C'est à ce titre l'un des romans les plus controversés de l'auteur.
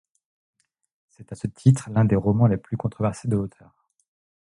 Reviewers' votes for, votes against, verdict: 1, 2, rejected